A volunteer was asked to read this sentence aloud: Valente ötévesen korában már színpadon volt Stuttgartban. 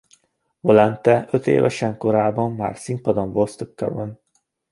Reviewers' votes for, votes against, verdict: 2, 0, accepted